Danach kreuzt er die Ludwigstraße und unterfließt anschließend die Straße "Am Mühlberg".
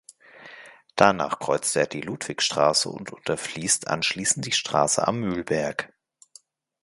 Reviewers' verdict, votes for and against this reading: accepted, 2, 0